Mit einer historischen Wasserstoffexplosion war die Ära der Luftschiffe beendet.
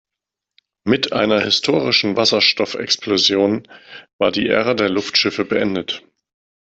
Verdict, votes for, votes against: accepted, 2, 0